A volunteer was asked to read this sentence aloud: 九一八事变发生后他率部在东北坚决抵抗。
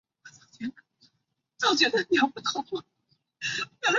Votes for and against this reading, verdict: 0, 2, rejected